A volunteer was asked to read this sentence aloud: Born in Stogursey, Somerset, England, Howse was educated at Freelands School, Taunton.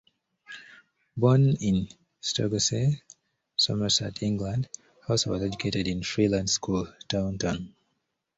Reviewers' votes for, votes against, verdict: 1, 2, rejected